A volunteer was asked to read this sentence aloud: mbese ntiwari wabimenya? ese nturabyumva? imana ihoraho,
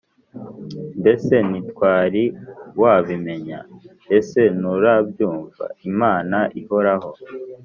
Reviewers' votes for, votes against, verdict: 1, 2, rejected